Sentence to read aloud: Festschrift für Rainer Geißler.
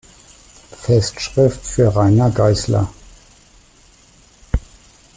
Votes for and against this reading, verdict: 2, 0, accepted